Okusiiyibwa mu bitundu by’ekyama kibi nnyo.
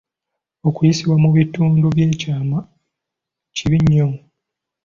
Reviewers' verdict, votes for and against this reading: rejected, 1, 2